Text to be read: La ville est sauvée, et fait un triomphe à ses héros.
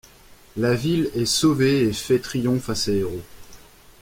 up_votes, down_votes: 1, 2